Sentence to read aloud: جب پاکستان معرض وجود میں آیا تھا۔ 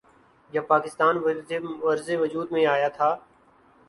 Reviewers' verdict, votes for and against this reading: accepted, 3, 2